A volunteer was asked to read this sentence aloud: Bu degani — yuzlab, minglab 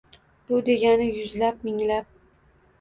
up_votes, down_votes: 2, 0